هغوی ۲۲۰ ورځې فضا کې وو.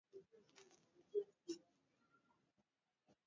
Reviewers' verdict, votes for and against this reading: rejected, 0, 2